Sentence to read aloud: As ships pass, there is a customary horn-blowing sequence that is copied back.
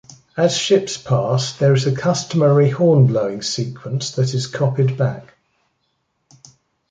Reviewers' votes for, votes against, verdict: 2, 0, accepted